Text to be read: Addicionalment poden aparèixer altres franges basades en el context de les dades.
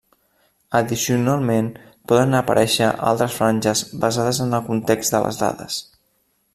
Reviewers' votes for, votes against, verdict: 0, 2, rejected